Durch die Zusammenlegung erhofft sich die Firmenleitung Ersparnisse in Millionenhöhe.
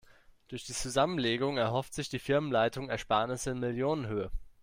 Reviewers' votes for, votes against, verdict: 2, 0, accepted